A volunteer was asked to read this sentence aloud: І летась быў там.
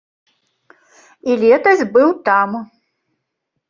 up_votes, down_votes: 2, 0